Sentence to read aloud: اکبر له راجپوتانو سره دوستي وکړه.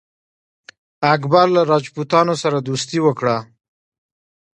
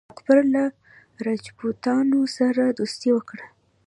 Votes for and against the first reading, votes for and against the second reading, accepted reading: 1, 2, 2, 0, second